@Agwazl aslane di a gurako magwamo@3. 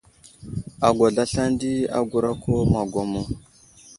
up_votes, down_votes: 0, 2